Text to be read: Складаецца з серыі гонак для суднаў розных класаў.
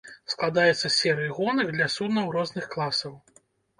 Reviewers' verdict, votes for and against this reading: accepted, 2, 0